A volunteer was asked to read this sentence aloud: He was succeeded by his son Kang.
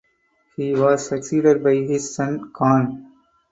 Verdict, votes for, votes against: accepted, 4, 0